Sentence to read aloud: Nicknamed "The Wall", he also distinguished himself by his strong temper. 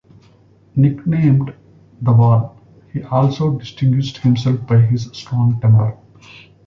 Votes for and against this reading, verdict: 0, 2, rejected